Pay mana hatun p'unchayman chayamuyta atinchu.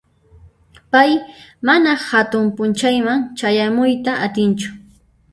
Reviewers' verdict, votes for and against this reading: rejected, 1, 2